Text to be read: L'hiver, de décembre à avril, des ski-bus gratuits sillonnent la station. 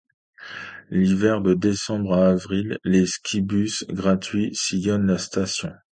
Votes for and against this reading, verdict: 0, 2, rejected